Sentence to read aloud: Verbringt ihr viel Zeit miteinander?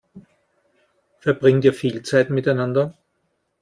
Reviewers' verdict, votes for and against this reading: accepted, 2, 0